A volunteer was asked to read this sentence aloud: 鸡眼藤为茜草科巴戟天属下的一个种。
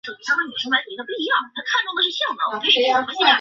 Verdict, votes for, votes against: rejected, 0, 3